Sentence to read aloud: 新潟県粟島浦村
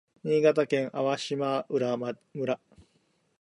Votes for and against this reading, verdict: 0, 2, rejected